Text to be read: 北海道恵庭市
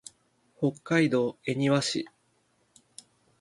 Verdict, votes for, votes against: accepted, 9, 2